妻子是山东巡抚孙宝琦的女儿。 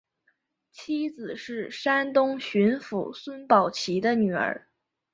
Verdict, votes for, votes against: accepted, 2, 0